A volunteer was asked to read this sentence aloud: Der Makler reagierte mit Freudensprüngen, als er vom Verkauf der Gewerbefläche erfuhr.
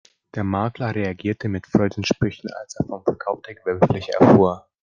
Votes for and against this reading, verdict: 1, 3, rejected